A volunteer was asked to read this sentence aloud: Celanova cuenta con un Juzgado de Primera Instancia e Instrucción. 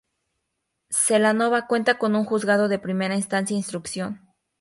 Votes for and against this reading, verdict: 2, 0, accepted